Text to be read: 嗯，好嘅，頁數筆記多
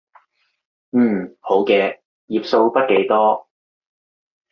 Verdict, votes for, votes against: accepted, 3, 0